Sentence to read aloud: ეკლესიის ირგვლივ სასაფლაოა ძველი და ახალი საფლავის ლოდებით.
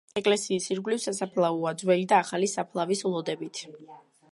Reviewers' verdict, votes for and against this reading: accepted, 2, 0